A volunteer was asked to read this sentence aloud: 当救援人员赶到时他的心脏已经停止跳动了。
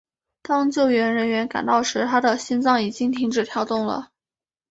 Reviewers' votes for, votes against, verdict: 4, 1, accepted